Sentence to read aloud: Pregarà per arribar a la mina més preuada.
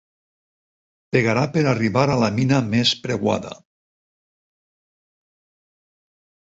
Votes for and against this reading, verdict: 4, 2, accepted